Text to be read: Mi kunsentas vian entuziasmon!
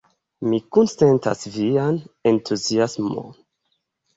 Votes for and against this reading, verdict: 0, 2, rejected